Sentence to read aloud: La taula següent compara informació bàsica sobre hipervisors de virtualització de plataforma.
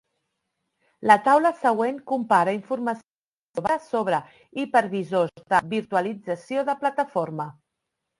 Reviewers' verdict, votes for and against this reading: rejected, 0, 2